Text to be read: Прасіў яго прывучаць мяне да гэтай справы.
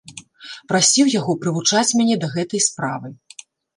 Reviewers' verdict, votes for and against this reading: accepted, 2, 0